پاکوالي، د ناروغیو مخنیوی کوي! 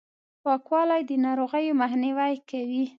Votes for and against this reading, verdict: 3, 0, accepted